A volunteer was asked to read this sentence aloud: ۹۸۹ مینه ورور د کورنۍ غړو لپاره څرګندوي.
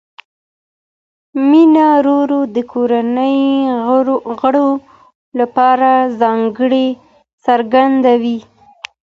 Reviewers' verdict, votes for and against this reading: rejected, 0, 2